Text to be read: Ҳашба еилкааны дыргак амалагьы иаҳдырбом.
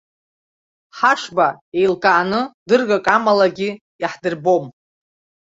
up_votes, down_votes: 2, 0